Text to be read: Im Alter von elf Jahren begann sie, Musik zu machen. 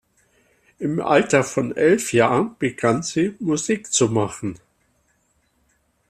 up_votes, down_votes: 2, 0